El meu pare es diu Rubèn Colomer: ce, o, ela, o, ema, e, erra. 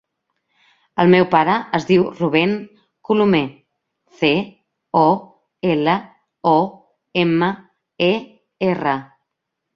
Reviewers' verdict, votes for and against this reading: rejected, 1, 2